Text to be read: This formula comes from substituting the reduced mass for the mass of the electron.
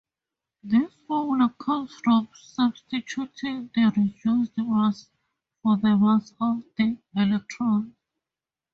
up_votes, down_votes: 4, 0